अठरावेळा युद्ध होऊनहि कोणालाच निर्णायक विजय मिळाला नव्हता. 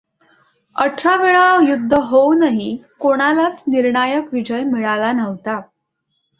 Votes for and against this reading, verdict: 2, 0, accepted